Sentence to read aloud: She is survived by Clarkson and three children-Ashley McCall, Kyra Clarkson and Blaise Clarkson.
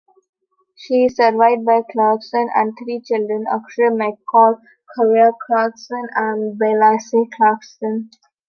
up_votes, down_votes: 1, 2